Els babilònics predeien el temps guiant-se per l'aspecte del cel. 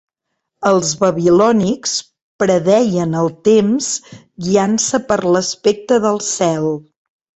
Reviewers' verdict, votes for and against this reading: accepted, 3, 0